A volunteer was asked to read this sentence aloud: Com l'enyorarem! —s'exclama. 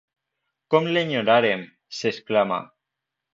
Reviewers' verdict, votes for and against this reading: rejected, 0, 2